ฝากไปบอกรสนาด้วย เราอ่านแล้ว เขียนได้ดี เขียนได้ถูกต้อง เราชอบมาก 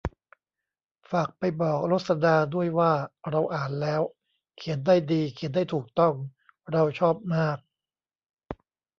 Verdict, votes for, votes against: rejected, 0, 2